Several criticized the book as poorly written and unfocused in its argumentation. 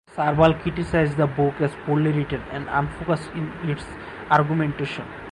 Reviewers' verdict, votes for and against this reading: rejected, 2, 4